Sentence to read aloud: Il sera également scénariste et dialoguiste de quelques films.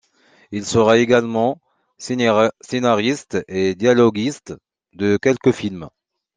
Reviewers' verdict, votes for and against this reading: rejected, 0, 2